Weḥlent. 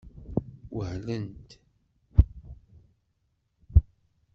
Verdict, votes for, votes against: rejected, 1, 2